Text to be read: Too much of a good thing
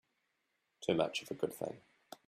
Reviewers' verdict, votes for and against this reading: rejected, 1, 2